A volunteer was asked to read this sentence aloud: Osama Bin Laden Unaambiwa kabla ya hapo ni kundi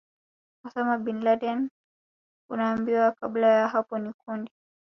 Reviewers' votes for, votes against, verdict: 4, 0, accepted